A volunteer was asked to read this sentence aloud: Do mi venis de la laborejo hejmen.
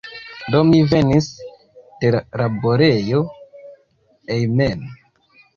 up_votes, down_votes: 0, 2